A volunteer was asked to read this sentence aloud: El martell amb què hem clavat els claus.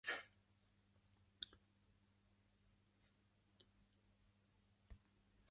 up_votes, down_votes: 0, 2